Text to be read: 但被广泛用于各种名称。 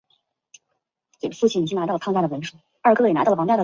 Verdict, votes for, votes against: rejected, 0, 3